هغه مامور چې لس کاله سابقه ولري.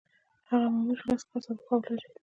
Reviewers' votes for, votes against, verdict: 2, 1, accepted